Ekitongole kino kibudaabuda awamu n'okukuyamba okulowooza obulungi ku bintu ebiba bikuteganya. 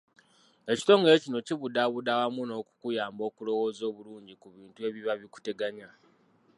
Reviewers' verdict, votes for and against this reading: accepted, 2, 1